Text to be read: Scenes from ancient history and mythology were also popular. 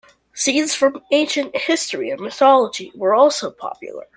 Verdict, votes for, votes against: accepted, 2, 0